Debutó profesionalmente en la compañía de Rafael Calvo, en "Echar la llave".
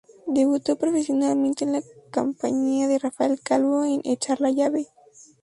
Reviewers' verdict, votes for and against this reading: rejected, 2, 2